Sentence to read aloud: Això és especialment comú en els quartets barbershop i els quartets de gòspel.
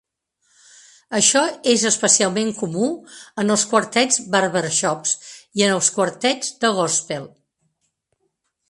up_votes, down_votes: 0, 2